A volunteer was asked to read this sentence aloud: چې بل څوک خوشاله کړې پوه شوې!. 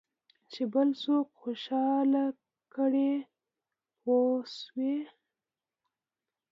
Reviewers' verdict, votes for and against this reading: rejected, 1, 2